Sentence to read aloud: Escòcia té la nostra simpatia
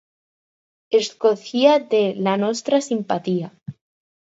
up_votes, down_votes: 2, 4